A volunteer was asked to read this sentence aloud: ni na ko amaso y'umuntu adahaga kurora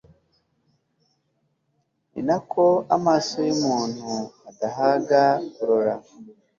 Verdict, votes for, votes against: accepted, 2, 0